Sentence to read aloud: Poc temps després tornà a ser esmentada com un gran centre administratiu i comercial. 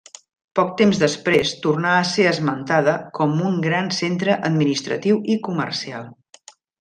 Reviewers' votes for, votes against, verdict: 3, 0, accepted